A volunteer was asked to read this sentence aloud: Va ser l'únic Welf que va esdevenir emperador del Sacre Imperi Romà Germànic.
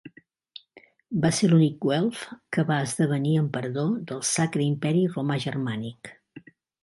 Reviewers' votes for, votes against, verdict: 2, 0, accepted